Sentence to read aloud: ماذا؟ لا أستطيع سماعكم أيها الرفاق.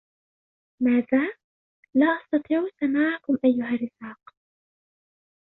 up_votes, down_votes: 1, 2